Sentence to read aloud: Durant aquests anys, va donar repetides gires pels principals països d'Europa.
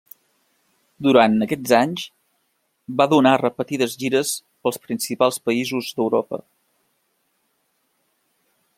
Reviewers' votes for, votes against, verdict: 2, 1, accepted